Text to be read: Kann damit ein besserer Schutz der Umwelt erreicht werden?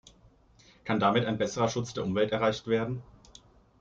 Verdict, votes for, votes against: accepted, 2, 0